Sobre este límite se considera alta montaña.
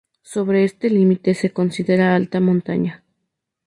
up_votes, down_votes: 2, 0